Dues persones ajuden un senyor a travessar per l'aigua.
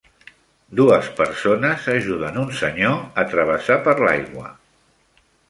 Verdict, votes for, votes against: accepted, 3, 0